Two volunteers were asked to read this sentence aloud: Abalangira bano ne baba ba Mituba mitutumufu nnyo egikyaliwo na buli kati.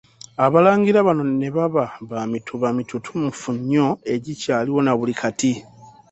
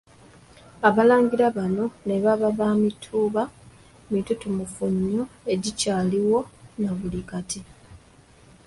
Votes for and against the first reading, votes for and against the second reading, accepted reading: 2, 0, 1, 2, first